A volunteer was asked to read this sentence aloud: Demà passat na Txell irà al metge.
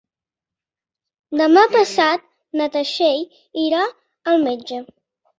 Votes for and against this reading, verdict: 1, 2, rejected